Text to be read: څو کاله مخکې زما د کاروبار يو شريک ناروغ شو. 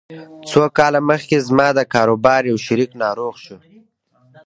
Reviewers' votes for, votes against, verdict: 0, 2, rejected